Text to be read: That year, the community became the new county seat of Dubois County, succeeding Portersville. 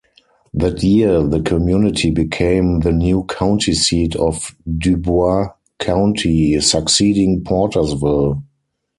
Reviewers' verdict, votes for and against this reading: rejected, 0, 4